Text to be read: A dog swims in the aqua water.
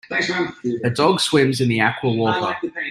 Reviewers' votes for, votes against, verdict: 2, 1, accepted